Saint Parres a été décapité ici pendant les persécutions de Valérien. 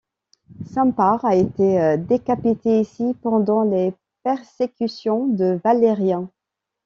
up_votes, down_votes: 2, 0